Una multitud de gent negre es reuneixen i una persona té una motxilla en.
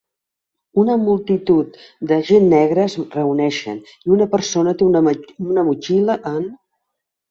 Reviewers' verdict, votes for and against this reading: rejected, 1, 2